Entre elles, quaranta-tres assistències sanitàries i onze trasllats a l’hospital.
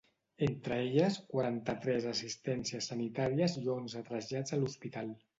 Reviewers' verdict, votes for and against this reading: accepted, 2, 0